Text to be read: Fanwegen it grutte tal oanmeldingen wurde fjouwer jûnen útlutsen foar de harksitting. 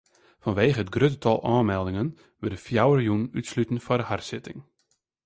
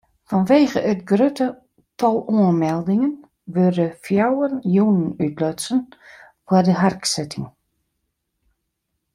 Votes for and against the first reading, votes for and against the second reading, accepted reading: 0, 2, 2, 1, second